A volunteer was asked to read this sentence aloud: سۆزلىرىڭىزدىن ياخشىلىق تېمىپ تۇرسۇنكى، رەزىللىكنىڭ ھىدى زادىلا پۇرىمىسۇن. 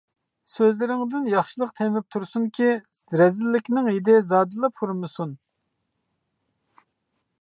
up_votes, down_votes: 1, 2